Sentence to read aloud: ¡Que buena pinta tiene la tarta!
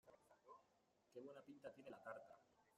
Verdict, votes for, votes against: rejected, 1, 2